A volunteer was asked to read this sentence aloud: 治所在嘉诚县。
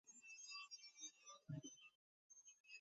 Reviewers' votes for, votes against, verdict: 0, 2, rejected